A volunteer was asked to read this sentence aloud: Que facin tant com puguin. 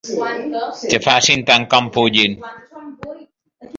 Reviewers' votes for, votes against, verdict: 2, 1, accepted